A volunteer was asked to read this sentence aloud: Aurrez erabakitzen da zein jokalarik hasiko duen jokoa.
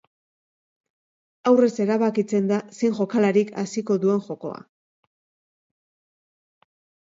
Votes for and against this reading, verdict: 3, 0, accepted